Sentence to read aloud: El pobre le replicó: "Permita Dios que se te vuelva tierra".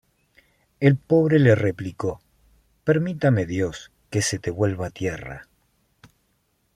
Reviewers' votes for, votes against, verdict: 1, 2, rejected